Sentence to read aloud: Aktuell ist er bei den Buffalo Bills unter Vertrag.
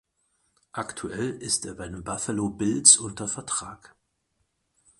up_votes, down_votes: 4, 0